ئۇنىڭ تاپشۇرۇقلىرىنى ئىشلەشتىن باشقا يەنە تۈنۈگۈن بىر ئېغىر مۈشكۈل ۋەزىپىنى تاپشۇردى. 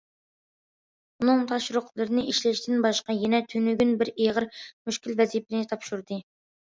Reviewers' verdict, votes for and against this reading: accepted, 2, 0